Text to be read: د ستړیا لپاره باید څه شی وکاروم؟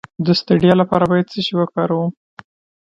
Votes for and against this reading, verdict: 2, 1, accepted